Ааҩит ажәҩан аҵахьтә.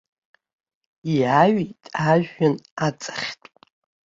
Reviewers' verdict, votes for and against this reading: rejected, 1, 2